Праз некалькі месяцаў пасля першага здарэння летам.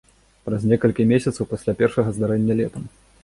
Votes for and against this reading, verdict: 2, 0, accepted